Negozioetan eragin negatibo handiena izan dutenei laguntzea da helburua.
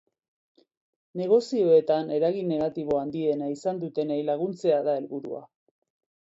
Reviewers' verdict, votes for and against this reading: accepted, 2, 0